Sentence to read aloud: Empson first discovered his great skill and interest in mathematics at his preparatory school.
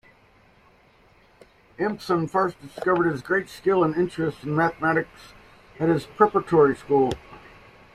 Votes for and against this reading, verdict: 2, 1, accepted